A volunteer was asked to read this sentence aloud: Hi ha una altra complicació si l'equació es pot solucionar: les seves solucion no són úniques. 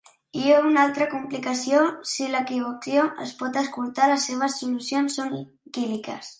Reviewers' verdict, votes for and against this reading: rejected, 0, 3